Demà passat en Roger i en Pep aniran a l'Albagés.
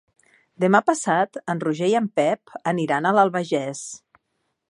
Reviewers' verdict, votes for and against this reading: accepted, 2, 0